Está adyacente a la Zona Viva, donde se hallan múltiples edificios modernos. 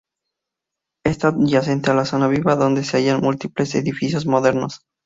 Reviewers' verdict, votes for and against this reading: rejected, 2, 2